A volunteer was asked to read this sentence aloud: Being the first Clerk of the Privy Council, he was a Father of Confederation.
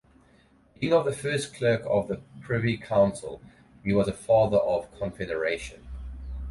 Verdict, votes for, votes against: rejected, 2, 2